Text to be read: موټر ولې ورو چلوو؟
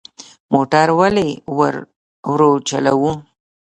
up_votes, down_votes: 1, 2